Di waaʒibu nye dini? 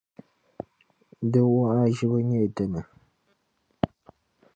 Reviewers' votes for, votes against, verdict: 1, 2, rejected